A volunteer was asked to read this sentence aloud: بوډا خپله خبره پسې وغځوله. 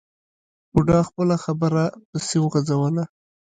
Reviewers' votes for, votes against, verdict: 2, 1, accepted